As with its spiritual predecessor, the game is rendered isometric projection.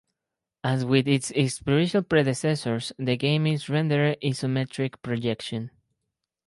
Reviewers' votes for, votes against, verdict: 2, 4, rejected